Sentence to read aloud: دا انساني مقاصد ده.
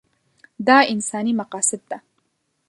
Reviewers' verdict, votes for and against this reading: accepted, 2, 0